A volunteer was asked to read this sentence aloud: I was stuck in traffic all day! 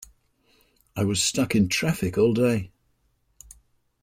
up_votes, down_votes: 2, 0